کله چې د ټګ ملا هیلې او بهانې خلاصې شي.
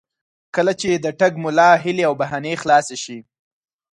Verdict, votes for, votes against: accepted, 4, 0